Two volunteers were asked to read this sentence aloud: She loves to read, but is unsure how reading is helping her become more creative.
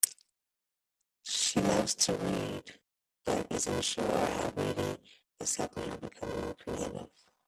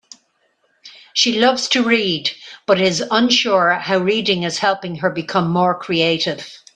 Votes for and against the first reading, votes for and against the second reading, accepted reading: 1, 2, 2, 0, second